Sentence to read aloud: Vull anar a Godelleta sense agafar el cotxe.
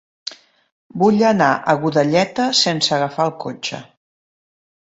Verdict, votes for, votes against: accepted, 3, 0